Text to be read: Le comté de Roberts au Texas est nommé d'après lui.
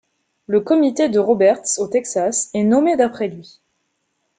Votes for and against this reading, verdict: 1, 2, rejected